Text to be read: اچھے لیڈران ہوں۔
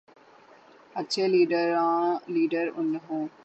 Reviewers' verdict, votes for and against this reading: rejected, 0, 3